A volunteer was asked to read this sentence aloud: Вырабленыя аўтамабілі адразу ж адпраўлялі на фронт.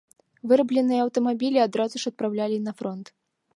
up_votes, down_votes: 2, 0